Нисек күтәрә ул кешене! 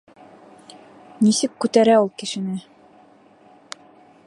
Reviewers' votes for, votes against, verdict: 2, 0, accepted